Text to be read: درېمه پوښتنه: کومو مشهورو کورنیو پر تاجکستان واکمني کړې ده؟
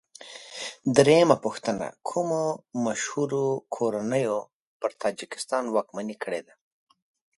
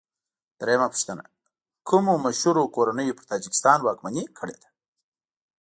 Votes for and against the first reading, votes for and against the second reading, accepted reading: 2, 0, 0, 2, first